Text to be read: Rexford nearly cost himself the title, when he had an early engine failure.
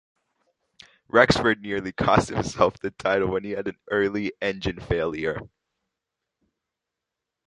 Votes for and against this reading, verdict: 2, 0, accepted